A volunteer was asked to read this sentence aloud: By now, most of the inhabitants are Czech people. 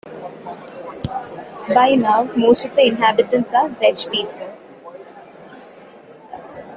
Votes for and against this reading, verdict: 2, 0, accepted